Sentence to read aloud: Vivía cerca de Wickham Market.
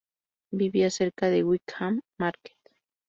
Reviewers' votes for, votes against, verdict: 2, 0, accepted